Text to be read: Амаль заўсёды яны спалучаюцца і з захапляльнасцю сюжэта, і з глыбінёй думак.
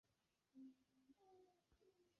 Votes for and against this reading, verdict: 0, 2, rejected